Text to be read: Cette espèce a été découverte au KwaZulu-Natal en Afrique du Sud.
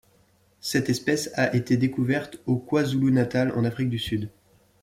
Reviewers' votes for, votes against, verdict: 2, 0, accepted